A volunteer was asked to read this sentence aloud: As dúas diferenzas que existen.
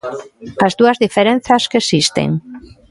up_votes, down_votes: 2, 0